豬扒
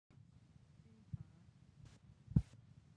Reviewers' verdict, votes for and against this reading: rejected, 0, 2